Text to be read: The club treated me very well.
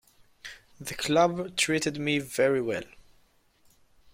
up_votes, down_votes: 2, 0